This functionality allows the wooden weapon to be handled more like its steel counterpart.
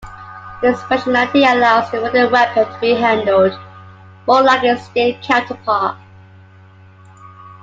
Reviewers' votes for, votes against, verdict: 2, 0, accepted